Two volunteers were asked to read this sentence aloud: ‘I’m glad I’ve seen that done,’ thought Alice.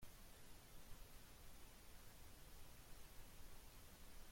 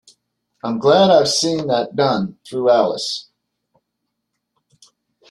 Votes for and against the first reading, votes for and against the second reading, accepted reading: 0, 2, 2, 1, second